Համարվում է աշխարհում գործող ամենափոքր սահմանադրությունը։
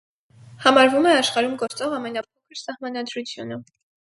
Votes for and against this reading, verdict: 2, 2, rejected